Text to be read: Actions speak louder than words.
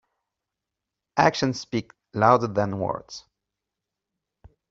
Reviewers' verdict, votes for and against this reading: rejected, 1, 2